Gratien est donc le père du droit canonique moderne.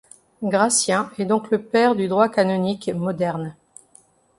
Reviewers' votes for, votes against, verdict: 2, 0, accepted